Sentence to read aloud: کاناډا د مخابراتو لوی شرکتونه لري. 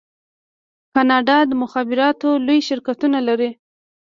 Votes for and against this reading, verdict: 0, 2, rejected